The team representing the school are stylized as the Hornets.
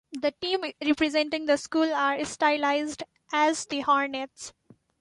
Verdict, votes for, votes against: accepted, 2, 0